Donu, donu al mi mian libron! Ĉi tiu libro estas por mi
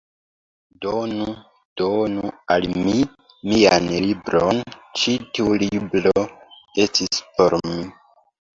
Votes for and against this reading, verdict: 0, 2, rejected